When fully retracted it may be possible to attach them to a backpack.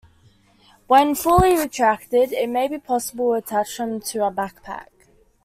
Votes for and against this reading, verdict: 2, 0, accepted